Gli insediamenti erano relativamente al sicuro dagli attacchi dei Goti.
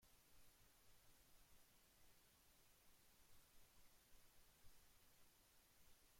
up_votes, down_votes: 0, 2